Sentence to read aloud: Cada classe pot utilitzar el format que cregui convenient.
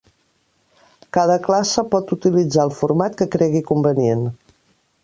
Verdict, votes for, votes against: accepted, 3, 0